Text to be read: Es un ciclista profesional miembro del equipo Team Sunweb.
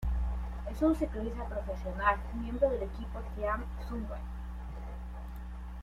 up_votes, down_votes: 1, 2